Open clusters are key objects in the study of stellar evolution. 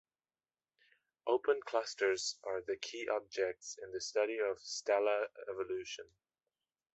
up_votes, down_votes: 0, 2